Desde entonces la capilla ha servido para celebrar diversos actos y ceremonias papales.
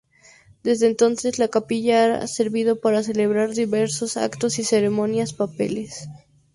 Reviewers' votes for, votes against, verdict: 2, 2, rejected